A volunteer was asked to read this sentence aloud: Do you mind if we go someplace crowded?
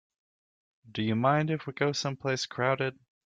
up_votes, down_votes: 2, 0